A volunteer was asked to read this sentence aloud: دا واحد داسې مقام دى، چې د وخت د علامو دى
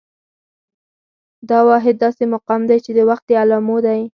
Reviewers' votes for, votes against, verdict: 2, 4, rejected